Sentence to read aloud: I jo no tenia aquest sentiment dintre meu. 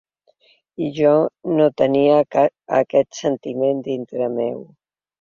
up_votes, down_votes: 1, 2